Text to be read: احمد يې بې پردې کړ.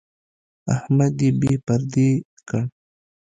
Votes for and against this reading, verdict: 2, 0, accepted